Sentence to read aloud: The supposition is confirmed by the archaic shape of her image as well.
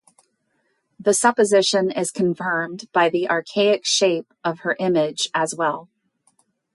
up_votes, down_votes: 2, 0